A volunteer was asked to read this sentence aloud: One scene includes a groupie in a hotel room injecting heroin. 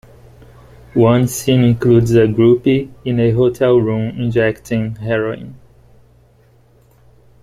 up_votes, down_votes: 2, 0